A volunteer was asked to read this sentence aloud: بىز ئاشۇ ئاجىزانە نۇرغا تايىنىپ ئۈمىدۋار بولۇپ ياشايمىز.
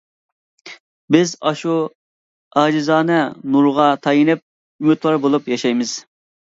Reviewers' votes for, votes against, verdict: 2, 0, accepted